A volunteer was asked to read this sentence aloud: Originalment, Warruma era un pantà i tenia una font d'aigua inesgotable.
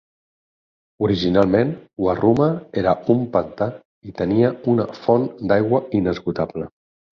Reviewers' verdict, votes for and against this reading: accepted, 4, 0